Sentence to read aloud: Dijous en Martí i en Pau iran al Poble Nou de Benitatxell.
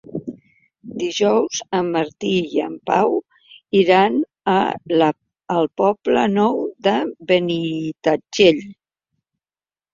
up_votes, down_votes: 1, 2